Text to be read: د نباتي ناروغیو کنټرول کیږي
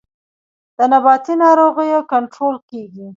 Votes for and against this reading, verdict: 2, 0, accepted